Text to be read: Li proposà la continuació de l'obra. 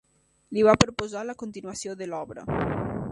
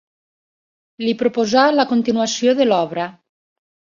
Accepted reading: second